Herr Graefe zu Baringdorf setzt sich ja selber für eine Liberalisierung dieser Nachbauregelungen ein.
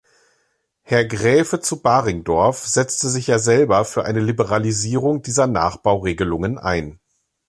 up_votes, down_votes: 3, 4